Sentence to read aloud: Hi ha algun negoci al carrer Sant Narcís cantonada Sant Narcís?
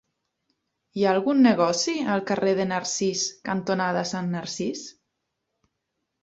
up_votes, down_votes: 0, 2